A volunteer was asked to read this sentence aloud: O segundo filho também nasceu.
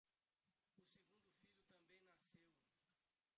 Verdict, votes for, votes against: rejected, 0, 2